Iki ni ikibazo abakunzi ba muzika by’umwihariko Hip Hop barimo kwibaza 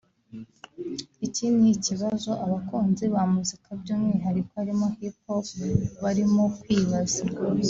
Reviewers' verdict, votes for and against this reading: rejected, 0, 2